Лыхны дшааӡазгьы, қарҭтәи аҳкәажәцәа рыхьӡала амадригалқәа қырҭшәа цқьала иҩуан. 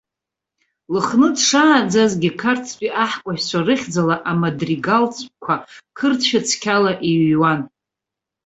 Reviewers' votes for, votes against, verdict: 0, 2, rejected